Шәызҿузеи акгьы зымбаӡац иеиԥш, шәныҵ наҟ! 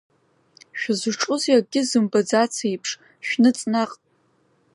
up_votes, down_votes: 2, 1